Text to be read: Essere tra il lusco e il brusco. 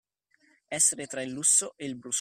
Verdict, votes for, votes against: rejected, 0, 2